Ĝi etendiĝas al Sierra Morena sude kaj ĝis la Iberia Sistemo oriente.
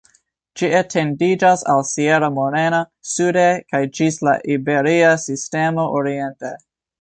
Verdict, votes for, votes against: accepted, 2, 1